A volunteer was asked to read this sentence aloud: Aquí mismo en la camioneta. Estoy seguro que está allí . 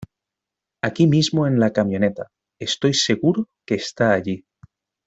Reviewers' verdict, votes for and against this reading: accepted, 2, 0